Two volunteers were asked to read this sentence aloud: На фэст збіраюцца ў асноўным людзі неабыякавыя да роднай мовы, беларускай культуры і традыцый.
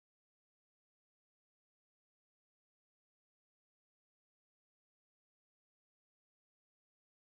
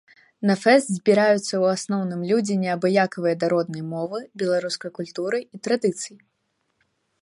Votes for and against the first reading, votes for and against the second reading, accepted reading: 0, 2, 2, 0, second